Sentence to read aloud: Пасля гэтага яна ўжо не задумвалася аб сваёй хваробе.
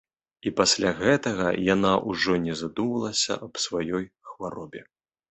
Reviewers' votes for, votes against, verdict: 2, 1, accepted